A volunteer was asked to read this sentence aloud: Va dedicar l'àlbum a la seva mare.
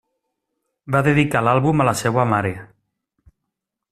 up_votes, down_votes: 3, 0